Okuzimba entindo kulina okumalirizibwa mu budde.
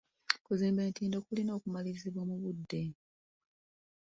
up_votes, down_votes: 2, 0